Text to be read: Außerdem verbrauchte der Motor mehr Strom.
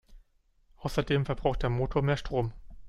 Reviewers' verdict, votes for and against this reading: rejected, 1, 2